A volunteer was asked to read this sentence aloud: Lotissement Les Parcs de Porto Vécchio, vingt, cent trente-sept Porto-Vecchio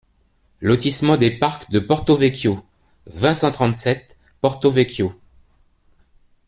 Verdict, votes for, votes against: rejected, 0, 2